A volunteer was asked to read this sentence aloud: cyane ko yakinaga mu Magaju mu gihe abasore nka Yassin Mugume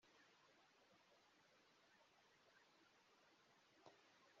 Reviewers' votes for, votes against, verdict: 0, 2, rejected